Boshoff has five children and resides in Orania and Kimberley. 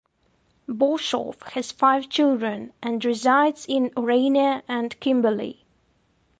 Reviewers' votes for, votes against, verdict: 2, 0, accepted